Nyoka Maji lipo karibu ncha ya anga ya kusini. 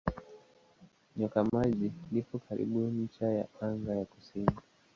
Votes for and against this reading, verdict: 4, 5, rejected